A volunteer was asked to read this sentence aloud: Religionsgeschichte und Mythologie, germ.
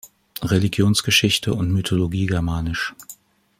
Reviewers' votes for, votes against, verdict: 2, 0, accepted